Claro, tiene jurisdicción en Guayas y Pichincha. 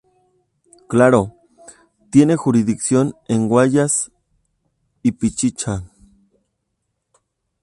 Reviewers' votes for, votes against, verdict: 0, 2, rejected